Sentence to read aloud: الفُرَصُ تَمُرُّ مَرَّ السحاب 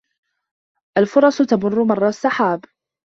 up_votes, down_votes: 2, 0